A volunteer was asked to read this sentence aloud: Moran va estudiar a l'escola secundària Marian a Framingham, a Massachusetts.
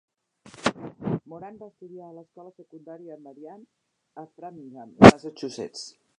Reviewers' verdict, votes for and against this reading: rejected, 1, 2